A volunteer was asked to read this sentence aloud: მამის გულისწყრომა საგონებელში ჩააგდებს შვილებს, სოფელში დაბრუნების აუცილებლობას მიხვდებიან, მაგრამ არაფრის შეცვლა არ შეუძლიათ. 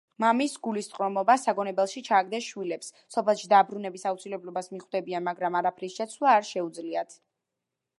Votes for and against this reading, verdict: 0, 2, rejected